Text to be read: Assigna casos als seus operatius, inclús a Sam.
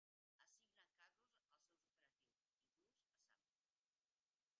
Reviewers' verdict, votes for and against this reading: rejected, 0, 2